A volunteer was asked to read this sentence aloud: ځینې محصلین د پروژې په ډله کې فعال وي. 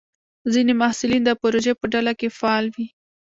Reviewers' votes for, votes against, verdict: 0, 2, rejected